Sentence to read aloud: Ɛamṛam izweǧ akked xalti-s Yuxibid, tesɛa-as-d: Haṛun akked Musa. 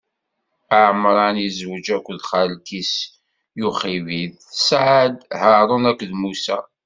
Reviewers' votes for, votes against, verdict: 2, 0, accepted